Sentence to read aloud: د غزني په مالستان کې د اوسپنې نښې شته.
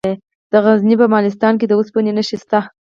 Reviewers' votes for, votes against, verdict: 2, 4, rejected